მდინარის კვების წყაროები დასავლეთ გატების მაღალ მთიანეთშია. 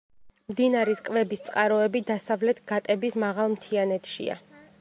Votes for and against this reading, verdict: 2, 0, accepted